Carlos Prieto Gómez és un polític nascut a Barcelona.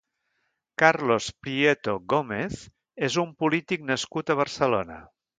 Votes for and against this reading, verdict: 1, 2, rejected